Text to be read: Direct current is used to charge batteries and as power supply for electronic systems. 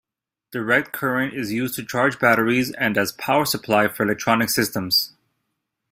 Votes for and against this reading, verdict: 2, 0, accepted